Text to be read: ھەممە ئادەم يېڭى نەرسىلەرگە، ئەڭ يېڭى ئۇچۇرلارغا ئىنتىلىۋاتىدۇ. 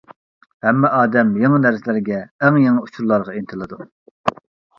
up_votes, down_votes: 0, 2